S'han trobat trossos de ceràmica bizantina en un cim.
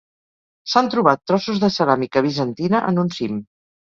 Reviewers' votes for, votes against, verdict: 4, 0, accepted